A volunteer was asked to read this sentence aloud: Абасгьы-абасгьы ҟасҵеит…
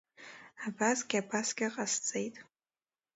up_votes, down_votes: 2, 0